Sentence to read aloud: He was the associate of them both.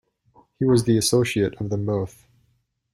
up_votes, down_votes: 2, 0